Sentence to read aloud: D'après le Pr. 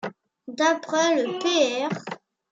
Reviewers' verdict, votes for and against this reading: rejected, 1, 2